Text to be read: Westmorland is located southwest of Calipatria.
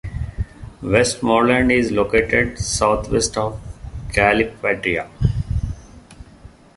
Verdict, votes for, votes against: accepted, 2, 0